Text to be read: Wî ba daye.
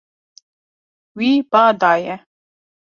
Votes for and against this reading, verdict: 2, 0, accepted